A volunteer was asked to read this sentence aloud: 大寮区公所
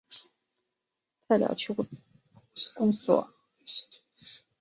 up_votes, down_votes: 3, 5